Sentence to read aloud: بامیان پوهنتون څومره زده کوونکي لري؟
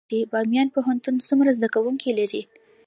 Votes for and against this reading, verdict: 2, 1, accepted